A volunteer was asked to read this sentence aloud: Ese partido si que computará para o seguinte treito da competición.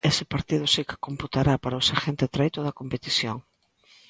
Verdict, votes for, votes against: accepted, 2, 0